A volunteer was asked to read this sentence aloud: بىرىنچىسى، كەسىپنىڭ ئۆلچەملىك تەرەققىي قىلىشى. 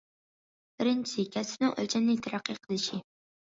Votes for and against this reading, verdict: 2, 1, accepted